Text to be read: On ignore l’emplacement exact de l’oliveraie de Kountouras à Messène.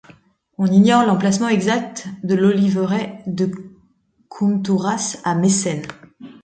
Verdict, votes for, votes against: rejected, 1, 2